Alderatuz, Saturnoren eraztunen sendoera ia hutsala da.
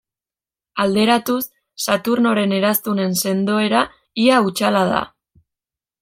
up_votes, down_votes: 2, 0